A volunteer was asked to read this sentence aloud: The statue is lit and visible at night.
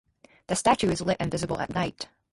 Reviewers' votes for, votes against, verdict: 2, 0, accepted